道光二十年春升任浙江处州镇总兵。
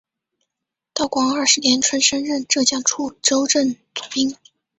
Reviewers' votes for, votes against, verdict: 0, 2, rejected